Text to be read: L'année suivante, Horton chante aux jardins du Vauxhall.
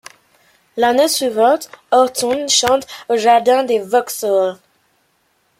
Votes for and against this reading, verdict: 2, 0, accepted